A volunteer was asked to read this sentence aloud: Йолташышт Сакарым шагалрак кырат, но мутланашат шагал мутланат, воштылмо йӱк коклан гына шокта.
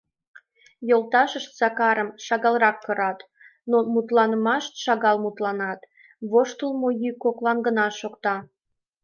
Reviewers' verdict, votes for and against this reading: rejected, 1, 2